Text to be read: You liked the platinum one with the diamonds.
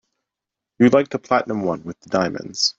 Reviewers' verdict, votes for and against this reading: accepted, 2, 0